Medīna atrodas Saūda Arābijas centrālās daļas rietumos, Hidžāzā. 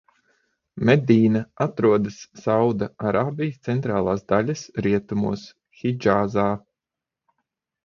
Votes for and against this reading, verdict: 6, 0, accepted